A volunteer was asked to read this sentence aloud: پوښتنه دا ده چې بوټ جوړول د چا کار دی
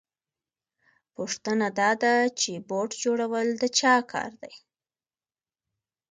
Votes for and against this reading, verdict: 2, 1, accepted